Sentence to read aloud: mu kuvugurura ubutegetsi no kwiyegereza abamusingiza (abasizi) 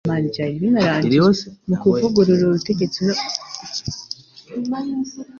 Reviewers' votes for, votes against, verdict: 1, 2, rejected